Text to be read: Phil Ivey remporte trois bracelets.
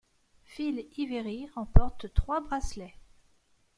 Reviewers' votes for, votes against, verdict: 1, 2, rejected